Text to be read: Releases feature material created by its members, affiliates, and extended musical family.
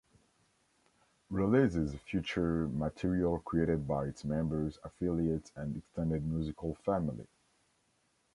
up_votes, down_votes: 0, 2